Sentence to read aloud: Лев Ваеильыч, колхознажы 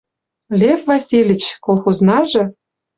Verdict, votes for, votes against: rejected, 1, 2